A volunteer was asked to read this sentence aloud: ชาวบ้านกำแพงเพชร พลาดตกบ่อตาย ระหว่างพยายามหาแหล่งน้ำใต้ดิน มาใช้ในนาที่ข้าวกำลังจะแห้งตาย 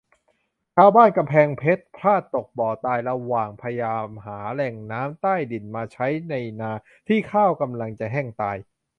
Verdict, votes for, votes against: accepted, 2, 0